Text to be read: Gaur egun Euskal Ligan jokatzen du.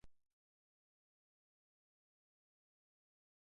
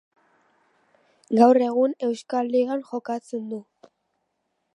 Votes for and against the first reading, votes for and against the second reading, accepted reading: 0, 3, 4, 0, second